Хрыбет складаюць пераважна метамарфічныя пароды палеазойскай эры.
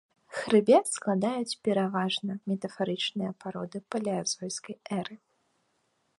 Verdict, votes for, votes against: rejected, 0, 2